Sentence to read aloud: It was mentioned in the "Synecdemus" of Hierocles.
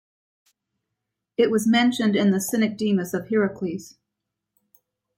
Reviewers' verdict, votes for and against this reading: rejected, 1, 2